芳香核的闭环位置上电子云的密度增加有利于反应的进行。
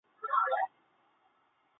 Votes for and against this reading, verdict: 0, 2, rejected